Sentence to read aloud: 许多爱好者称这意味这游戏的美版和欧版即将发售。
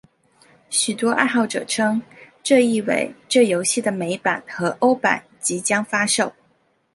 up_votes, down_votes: 2, 0